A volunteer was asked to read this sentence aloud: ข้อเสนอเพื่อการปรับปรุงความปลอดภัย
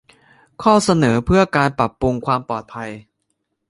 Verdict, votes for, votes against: rejected, 1, 2